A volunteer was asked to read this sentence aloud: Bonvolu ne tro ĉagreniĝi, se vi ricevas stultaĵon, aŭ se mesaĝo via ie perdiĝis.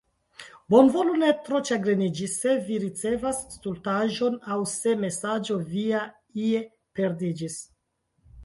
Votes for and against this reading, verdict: 2, 3, rejected